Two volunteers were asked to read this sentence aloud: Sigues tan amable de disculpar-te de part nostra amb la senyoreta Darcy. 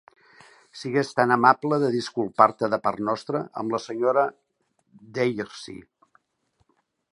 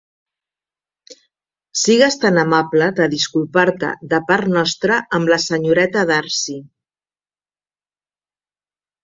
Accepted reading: second